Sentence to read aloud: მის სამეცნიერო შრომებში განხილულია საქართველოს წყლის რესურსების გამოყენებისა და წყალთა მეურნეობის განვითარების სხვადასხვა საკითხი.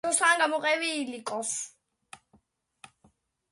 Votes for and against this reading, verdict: 0, 2, rejected